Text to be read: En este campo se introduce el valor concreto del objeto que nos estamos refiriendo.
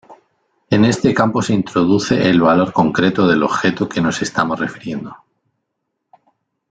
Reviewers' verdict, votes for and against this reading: accepted, 2, 0